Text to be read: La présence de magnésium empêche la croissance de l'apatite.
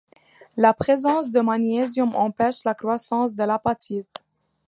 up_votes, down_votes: 3, 0